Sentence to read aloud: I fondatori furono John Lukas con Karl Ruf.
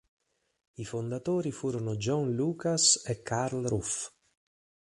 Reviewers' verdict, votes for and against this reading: rejected, 4, 6